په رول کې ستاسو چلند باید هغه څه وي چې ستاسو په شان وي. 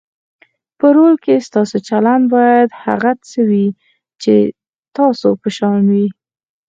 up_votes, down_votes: 4, 0